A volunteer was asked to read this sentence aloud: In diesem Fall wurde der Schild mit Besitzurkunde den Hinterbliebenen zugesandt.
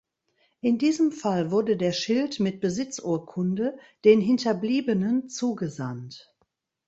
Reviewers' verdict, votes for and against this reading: accepted, 2, 0